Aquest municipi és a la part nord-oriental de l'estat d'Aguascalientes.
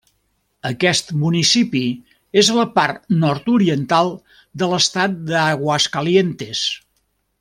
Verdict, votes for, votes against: accepted, 2, 0